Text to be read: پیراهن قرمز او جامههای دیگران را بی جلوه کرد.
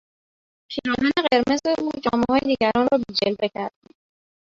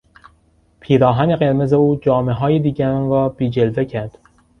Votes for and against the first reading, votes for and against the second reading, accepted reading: 0, 3, 2, 0, second